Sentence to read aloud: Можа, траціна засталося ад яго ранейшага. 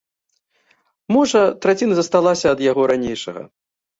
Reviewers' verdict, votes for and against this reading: rejected, 0, 2